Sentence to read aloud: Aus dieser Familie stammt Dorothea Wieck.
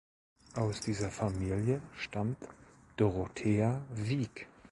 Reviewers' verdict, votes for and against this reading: accepted, 2, 0